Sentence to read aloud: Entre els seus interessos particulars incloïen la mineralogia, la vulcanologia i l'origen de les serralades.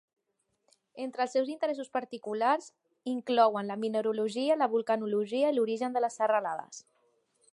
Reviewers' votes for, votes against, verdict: 0, 4, rejected